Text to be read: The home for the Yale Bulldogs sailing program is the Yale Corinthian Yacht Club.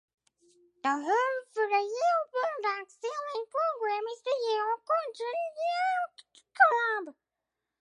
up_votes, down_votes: 2, 6